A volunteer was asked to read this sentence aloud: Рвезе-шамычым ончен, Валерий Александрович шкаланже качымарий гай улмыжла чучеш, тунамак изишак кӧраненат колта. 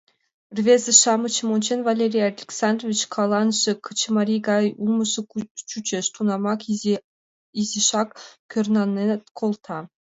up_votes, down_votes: 0, 2